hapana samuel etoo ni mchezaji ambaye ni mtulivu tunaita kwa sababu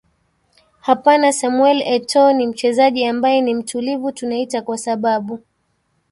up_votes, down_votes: 1, 2